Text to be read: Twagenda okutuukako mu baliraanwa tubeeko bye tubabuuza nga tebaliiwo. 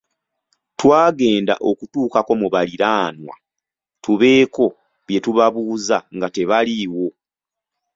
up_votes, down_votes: 2, 0